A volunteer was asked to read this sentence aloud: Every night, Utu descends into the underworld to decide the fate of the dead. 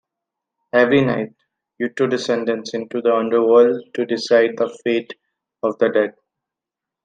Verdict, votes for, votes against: rejected, 1, 2